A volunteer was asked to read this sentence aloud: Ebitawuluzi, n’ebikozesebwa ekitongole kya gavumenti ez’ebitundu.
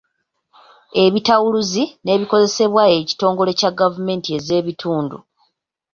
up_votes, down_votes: 2, 1